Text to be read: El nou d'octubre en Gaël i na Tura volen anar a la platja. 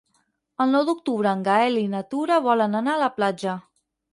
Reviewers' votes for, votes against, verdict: 6, 0, accepted